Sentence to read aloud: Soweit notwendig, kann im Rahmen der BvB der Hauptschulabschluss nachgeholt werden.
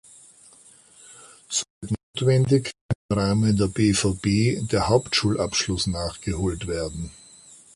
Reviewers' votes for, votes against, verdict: 0, 2, rejected